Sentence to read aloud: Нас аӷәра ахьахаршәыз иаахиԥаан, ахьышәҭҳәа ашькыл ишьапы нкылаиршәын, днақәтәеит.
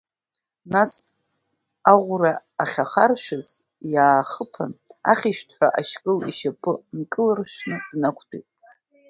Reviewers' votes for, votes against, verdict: 1, 2, rejected